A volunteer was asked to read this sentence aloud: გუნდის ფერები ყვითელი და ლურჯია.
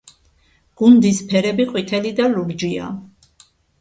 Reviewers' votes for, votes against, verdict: 2, 0, accepted